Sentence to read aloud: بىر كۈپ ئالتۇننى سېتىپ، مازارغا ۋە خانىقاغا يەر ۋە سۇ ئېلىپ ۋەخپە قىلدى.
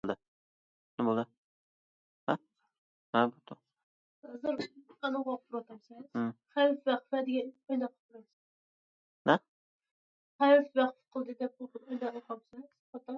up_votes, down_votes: 0, 2